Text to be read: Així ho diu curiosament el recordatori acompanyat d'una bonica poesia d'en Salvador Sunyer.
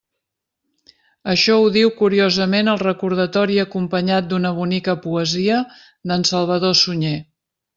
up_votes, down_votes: 0, 2